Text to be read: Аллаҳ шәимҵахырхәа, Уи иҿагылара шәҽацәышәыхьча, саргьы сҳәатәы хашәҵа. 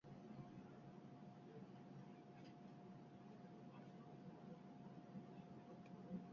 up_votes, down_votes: 0, 2